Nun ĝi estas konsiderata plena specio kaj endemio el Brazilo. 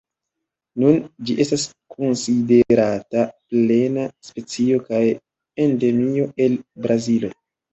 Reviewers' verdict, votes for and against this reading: accepted, 2, 0